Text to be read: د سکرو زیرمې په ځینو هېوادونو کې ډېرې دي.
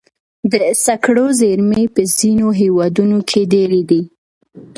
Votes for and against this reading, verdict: 2, 0, accepted